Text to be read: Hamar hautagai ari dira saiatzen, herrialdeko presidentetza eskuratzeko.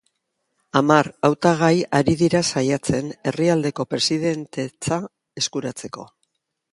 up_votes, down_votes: 2, 0